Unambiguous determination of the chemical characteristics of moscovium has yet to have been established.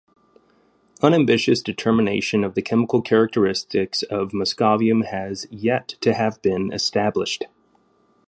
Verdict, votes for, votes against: accepted, 3, 1